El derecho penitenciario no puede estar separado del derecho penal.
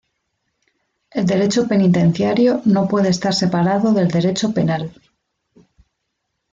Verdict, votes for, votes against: accepted, 2, 0